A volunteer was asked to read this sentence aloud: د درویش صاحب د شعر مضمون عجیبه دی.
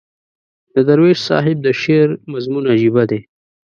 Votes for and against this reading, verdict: 2, 0, accepted